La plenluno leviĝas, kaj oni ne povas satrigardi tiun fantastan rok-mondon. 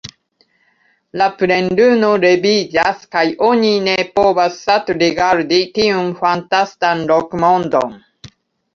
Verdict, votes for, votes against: rejected, 0, 2